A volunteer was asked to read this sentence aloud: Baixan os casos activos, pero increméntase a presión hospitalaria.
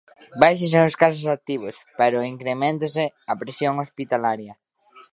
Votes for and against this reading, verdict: 0, 2, rejected